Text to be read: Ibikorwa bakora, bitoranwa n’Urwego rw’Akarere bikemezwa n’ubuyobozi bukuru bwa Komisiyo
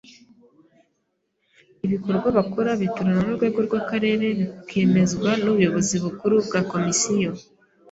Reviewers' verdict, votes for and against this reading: accepted, 2, 0